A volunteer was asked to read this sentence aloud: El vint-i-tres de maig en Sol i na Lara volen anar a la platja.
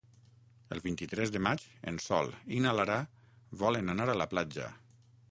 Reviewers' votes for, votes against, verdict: 6, 0, accepted